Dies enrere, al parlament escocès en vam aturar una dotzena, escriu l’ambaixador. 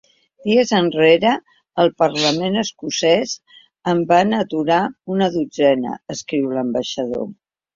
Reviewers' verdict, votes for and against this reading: accepted, 2, 0